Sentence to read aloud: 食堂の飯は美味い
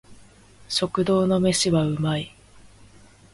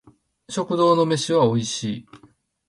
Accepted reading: first